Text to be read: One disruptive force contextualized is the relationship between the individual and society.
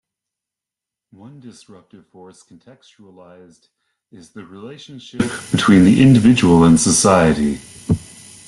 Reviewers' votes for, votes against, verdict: 1, 2, rejected